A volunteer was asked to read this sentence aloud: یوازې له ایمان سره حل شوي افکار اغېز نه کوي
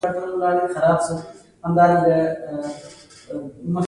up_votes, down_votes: 1, 2